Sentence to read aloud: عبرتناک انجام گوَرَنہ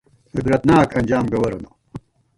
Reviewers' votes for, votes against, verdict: 1, 2, rejected